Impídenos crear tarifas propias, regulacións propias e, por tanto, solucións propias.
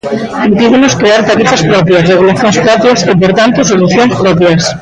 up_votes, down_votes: 0, 2